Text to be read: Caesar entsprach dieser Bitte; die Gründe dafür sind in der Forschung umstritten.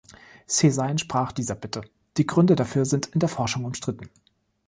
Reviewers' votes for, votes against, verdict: 2, 0, accepted